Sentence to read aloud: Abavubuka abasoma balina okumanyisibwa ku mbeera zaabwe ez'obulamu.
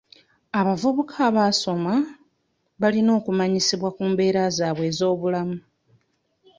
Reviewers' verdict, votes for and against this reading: rejected, 0, 2